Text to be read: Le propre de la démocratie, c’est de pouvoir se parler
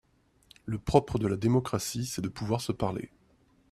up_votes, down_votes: 2, 0